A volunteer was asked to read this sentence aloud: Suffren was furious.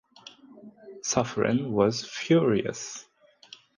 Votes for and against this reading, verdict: 2, 0, accepted